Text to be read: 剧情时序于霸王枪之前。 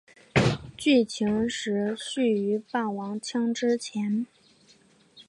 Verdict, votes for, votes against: accepted, 2, 0